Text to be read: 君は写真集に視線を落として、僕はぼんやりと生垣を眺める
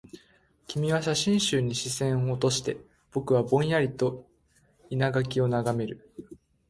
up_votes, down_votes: 2, 1